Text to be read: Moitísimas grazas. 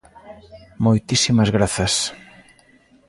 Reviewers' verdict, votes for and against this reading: accepted, 2, 0